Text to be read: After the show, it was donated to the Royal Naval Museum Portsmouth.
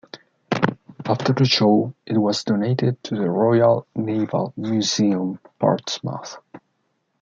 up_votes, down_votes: 1, 2